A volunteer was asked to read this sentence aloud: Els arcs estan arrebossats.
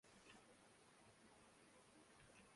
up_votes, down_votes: 0, 2